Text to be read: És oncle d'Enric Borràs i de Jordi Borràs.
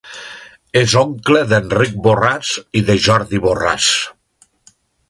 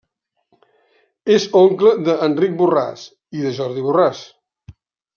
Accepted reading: first